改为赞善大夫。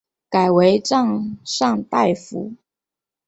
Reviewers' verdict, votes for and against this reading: accepted, 4, 0